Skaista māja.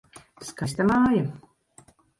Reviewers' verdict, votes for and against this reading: rejected, 0, 2